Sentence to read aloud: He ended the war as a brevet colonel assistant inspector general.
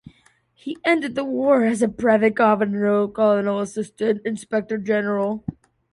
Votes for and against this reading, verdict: 0, 2, rejected